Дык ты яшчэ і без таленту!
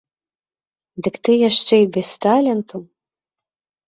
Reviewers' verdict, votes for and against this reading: rejected, 1, 2